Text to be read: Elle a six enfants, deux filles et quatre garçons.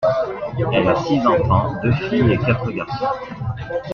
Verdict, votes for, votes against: rejected, 0, 2